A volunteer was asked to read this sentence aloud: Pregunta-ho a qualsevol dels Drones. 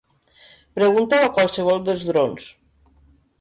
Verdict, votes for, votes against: rejected, 2, 3